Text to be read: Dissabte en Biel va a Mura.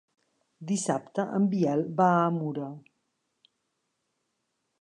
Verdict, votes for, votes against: accepted, 2, 0